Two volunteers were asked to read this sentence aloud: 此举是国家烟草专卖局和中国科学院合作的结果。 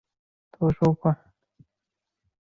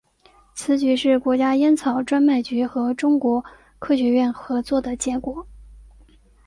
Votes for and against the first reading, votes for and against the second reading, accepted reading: 0, 4, 2, 0, second